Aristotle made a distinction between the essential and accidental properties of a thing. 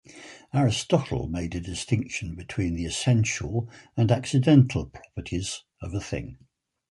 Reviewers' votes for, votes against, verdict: 4, 0, accepted